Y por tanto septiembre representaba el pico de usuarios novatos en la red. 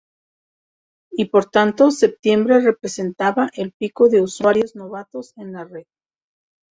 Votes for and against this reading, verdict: 2, 0, accepted